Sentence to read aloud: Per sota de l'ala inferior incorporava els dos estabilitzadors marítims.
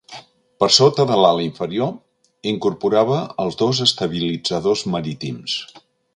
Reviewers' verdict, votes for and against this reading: accepted, 5, 0